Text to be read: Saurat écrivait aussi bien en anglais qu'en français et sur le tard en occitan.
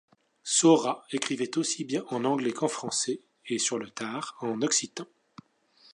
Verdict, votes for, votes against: accepted, 2, 0